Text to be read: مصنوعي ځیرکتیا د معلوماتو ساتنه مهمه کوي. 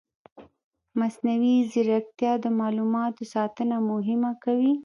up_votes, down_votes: 0, 2